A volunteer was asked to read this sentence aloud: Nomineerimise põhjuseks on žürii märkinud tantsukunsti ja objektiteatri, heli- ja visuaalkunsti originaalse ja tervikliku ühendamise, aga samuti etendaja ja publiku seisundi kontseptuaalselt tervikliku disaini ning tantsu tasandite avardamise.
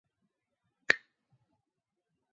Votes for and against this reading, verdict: 0, 2, rejected